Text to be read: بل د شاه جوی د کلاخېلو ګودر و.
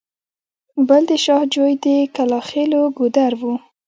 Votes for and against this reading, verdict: 1, 2, rejected